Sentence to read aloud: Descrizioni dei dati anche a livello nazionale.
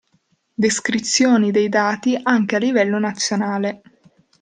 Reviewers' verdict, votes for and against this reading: accepted, 2, 0